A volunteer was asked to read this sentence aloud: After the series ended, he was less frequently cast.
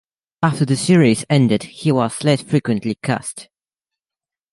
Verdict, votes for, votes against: accepted, 2, 0